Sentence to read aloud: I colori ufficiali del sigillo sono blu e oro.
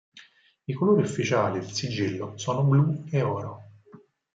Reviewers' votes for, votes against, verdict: 4, 0, accepted